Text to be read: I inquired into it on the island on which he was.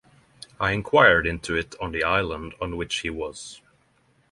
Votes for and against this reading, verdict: 6, 0, accepted